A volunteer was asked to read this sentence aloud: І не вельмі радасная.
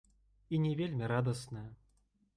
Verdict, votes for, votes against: accepted, 2, 1